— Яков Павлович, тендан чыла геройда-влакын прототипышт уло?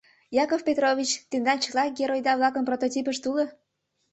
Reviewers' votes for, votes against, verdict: 1, 2, rejected